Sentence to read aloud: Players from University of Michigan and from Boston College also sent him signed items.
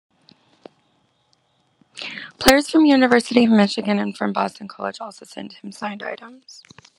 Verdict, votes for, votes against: accepted, 2, 1